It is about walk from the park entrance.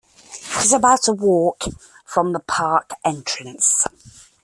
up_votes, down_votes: 0, 2